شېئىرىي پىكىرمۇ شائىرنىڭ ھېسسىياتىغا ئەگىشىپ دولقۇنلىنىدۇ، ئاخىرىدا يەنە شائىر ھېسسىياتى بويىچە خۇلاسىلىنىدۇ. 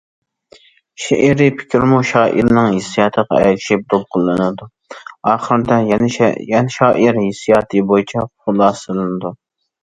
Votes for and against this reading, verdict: 0, 2, rejected